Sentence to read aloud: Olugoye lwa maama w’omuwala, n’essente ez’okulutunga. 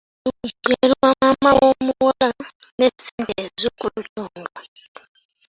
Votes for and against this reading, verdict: 0, 2, rejected